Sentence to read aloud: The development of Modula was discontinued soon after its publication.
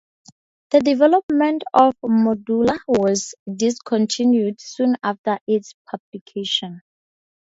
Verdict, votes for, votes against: rejected, 0, 2